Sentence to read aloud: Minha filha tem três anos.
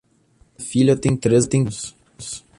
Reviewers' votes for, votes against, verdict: 0, 2, rejected